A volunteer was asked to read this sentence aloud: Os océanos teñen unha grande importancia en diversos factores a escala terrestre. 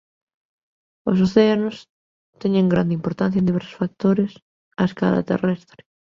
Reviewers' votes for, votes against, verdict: 1, 2, rejected